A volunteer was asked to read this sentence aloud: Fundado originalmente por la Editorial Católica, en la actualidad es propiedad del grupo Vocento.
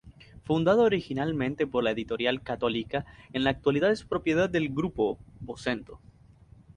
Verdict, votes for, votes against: accepted, 4, 0